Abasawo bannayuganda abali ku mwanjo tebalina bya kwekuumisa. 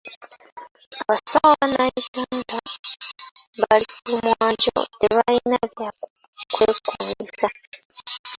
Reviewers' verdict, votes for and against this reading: rejected, 1, 2